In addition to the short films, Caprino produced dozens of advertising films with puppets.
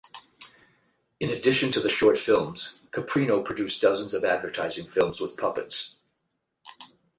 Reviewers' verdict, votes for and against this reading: accepted, 8, 0